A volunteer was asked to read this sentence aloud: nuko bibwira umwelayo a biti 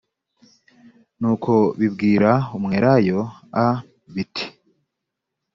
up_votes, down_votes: 2, 0